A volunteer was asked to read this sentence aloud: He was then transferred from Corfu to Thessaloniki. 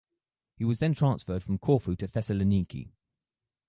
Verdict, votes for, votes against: rejected, 2, 2